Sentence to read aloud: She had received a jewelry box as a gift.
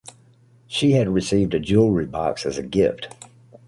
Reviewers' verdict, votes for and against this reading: accepted, 2, 0